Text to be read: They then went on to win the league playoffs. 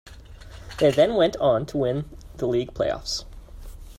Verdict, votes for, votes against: accepted, 2, 0